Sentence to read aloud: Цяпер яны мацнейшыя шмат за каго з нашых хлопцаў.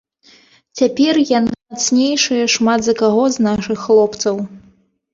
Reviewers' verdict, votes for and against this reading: rejected, 0, 2